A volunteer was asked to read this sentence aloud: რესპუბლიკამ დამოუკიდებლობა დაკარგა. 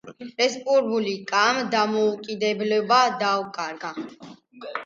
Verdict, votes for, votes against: rejected, 1, 2